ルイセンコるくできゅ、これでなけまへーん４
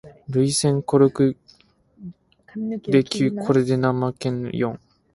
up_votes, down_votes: 0, 2